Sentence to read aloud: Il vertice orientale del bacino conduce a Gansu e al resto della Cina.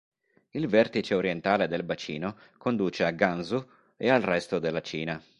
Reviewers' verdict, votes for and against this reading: accepted, 3, 0